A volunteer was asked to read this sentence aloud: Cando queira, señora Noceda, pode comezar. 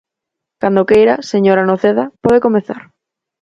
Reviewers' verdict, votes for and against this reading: accepted, 4, 0